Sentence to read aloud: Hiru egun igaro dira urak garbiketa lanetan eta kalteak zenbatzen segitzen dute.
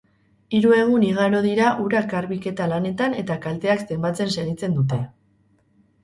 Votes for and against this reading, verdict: 6, 0, accepted